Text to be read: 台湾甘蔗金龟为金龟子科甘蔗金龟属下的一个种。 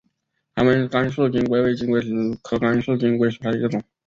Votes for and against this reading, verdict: 6, 5, accepted